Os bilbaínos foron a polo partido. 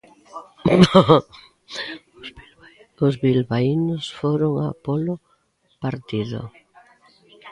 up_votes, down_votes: 0, 2